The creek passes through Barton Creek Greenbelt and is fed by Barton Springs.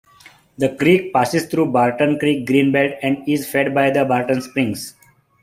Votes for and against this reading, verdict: 1, 2, rejected